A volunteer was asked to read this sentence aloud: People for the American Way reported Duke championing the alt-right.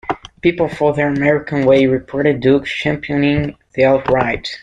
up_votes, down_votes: 1, 2